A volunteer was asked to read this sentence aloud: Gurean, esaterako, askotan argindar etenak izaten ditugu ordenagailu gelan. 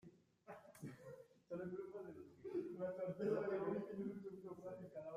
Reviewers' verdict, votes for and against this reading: rejected, 0, 2